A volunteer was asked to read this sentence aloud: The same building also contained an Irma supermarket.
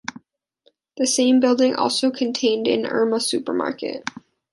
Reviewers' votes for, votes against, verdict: 2, 0, accepted